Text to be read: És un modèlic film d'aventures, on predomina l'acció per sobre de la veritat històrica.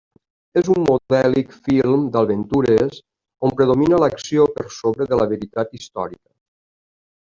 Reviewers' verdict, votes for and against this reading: rejected, 0, 2